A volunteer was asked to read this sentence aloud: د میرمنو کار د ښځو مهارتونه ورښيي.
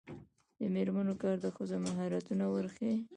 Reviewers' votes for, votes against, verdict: 0, 2, rejected